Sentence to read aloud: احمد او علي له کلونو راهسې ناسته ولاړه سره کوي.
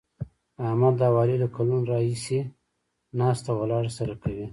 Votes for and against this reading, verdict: 2, 0, accepted